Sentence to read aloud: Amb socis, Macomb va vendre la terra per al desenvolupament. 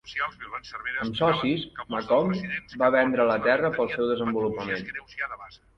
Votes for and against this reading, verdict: 0, 2, rejected